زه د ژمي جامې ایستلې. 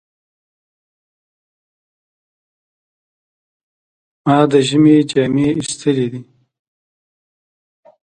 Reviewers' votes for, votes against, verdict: 0, 2, rejected